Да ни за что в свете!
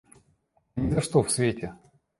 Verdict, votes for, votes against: rejected, 1, 2